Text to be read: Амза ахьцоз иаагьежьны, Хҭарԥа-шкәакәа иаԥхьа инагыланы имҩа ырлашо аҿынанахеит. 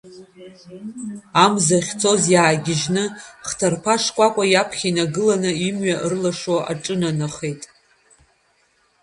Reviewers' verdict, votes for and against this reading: rejected, 1, 2